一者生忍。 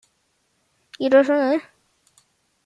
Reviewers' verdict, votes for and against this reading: rejected, 0, 2